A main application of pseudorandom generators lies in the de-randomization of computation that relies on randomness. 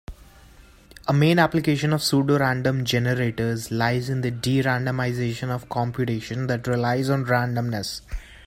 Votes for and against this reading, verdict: 2, 0, accepted